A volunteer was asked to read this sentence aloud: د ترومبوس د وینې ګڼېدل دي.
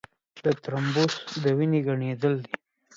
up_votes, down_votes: 3, 2